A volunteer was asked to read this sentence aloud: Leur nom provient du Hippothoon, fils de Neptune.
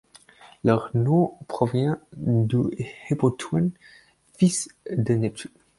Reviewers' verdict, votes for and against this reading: accepted, 4, 0